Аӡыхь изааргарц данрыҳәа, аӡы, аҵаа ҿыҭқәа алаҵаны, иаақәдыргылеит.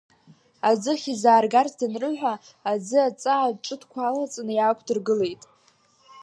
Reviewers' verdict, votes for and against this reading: accepted, 2, 0